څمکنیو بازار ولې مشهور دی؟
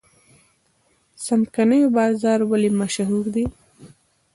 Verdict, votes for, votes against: rejected, 1, 2